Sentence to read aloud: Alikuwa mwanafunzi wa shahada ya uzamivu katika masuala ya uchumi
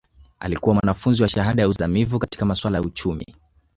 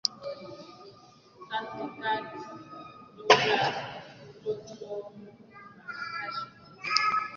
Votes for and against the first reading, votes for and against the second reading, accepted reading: 2, 1, 0, 4, first